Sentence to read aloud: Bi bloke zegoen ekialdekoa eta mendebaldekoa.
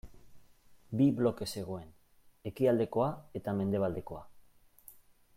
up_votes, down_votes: 2, 0